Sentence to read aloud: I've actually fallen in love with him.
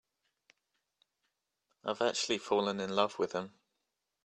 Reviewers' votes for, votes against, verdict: 3, 0, accepted